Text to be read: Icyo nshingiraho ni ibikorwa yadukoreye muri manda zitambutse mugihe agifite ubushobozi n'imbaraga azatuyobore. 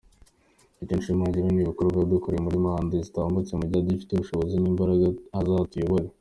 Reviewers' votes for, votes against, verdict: 0, 2, rejected